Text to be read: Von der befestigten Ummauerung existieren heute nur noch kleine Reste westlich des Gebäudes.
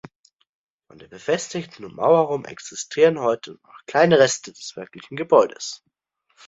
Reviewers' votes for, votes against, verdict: 0, 2, rejected